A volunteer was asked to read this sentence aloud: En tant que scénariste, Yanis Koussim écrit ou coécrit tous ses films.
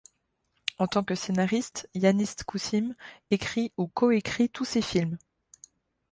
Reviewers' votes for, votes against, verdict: 0, 2, rejected